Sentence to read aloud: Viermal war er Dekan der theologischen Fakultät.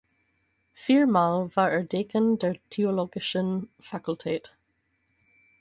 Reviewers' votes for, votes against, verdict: 4, 0, accepted